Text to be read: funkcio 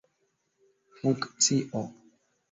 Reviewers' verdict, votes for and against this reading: accepted, 2, 1